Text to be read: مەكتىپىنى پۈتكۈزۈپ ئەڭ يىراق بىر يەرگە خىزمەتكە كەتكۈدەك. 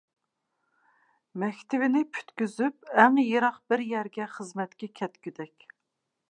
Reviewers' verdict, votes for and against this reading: accepted, 2, 0